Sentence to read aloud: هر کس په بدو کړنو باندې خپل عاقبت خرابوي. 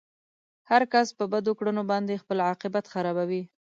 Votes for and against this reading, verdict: 2, 0, accepted